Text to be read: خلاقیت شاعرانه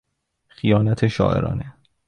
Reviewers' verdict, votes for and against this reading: rejected, 1, 2